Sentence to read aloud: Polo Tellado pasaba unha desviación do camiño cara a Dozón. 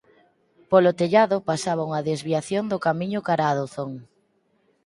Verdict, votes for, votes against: accepted, 4, 0